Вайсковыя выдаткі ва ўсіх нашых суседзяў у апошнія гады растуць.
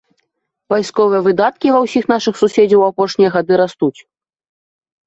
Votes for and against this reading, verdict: 4, 0, accepted